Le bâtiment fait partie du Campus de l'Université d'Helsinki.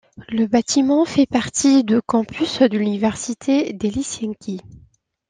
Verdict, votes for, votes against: rejected, 1, 2